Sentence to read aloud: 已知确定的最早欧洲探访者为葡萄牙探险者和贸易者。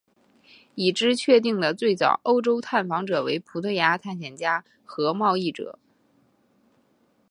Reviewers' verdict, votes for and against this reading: rejected, 2, 2